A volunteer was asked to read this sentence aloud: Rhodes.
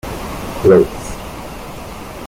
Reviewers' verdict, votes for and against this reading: rejected, 0, 2